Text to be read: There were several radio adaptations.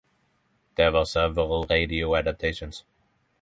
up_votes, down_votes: 6, 0